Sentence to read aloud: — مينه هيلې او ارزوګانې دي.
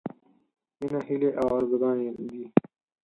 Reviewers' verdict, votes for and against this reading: rejected, 0, 4